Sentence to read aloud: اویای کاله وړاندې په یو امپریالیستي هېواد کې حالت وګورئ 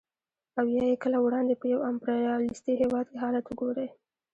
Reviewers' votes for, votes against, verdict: 0, 2, rejected